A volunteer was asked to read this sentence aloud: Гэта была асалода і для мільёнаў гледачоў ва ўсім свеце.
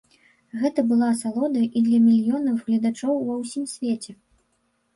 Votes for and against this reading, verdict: 0, 2, rejected